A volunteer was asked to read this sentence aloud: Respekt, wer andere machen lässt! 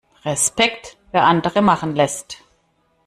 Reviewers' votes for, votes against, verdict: 2, 0, accepted